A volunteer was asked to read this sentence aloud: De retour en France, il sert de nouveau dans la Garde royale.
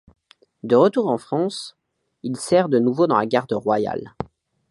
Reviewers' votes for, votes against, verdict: 2, 0, accepted